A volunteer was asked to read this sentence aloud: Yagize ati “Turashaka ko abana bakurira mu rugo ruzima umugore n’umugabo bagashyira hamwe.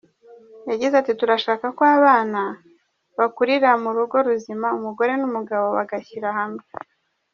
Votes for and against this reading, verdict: 2, 1, accepted